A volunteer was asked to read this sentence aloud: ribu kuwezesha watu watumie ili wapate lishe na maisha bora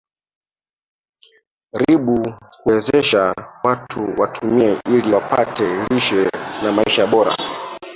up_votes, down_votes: 1, 2